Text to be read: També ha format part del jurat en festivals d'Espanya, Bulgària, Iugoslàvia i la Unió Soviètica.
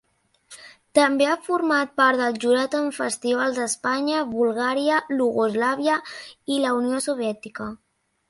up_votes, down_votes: 1, 2